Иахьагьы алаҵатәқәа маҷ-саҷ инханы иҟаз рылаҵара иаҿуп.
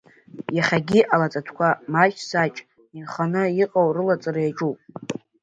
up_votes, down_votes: 0, 2